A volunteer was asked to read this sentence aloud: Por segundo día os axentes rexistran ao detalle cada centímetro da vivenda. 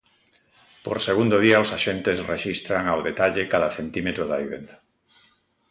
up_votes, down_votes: 2, 0